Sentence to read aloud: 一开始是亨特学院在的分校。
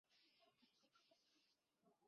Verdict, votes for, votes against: rejected, 0, 4